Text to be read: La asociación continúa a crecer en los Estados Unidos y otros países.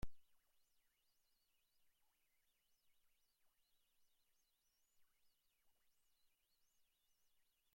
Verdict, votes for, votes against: rejected, 0, 2